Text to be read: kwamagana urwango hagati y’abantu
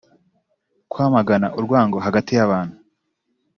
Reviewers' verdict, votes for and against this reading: rejected, 1, 2